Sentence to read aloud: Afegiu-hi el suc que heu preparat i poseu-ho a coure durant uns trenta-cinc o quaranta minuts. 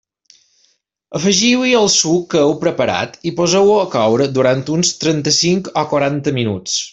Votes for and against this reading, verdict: 2, 0, accepted